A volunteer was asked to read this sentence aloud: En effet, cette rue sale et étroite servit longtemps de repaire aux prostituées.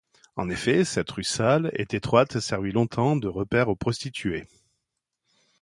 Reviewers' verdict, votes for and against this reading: rejected, 0, 2